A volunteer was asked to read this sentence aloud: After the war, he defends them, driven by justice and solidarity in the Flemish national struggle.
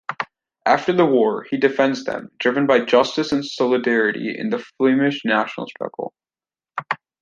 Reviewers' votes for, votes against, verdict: 2, 0, accepted